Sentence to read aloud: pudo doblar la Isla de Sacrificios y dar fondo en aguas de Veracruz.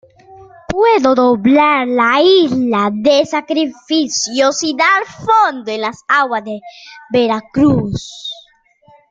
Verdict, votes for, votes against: rejected, 0, 2